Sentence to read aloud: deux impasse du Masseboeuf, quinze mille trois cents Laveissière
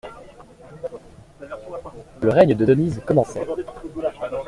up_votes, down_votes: 0, 2